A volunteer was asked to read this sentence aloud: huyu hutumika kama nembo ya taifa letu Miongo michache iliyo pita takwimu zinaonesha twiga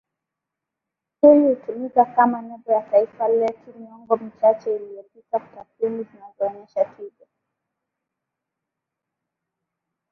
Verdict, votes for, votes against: rejected, 1, 2